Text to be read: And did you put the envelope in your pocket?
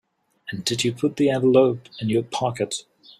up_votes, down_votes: 4, 0